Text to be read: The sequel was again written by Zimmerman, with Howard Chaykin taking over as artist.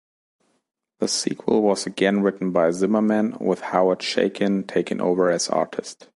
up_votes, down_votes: 2, 0